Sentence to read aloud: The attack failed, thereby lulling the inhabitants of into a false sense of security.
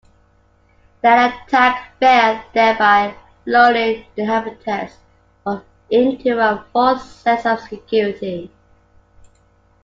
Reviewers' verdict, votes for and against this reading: accepted, 2, 0